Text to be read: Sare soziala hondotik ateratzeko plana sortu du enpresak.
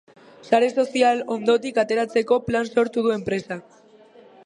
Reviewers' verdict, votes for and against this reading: rejected, 0, 3